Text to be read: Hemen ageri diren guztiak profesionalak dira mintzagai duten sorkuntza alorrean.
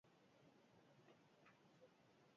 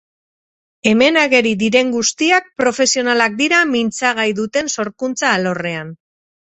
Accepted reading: second